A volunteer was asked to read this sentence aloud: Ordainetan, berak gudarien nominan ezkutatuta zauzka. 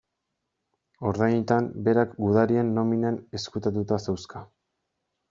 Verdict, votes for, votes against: rejected, 1, 2